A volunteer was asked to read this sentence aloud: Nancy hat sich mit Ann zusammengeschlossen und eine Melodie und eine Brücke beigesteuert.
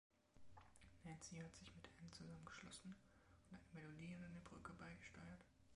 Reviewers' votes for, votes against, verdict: 2, 1, accepted